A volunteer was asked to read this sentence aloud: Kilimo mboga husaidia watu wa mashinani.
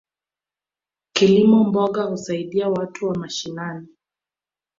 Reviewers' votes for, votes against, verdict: 2, 0, accepted